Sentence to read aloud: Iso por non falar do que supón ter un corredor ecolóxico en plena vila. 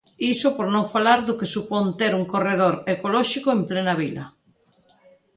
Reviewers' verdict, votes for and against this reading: accepted, 2, 0